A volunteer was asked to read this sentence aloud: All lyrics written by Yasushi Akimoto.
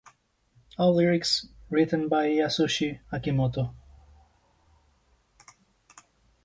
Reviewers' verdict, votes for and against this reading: accepted, 2, 0